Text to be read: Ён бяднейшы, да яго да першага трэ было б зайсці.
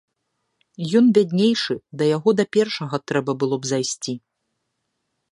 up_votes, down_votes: 1, 2